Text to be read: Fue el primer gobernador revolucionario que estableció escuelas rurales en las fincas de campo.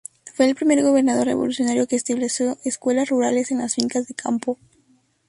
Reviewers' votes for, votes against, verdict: 0, 2, rejected